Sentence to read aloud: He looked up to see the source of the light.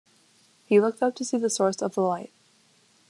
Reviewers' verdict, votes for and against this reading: accepted, 2, 0